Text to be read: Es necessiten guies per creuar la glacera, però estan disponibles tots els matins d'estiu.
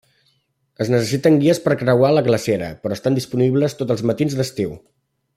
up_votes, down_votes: 2, 0